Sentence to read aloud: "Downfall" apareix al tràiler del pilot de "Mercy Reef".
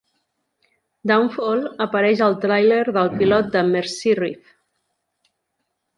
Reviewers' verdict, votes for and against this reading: rejected, 1, 2